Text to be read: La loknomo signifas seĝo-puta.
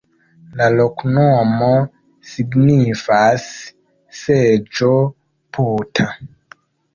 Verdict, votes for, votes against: rejected, 0, 2